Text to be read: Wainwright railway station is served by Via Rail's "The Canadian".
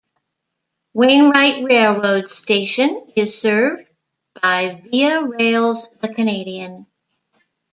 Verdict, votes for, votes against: rejected, 0, 2